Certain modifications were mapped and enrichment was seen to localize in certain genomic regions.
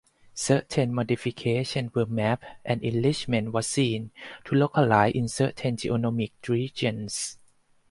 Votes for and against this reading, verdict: 0, 4, rejected